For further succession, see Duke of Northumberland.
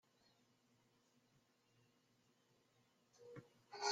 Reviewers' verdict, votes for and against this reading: rejected, 0, 2